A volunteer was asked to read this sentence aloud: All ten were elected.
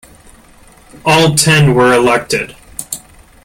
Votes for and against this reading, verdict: 2, 0, accepted